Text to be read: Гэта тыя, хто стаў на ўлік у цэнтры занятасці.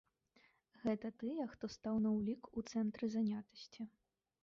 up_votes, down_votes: 0, 2